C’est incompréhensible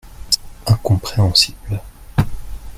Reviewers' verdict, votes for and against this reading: rejected, 1, 2